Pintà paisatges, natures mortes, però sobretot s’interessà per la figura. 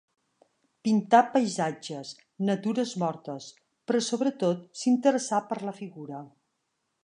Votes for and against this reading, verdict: 1, 2, rejected